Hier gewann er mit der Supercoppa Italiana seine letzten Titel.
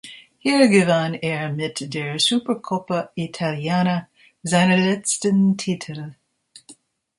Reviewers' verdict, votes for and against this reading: accepted, 2, 1